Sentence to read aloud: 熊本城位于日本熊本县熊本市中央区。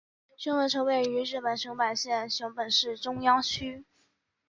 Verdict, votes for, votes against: accepted, 2, 0